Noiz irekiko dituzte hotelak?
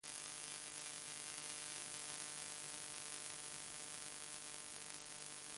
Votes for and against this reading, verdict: 0, 2, rejected